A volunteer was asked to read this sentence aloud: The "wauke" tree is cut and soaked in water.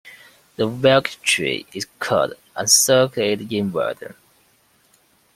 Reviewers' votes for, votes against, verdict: 0, 2, rejected